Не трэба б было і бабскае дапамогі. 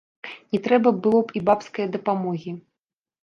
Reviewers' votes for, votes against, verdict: 0, 2, rejected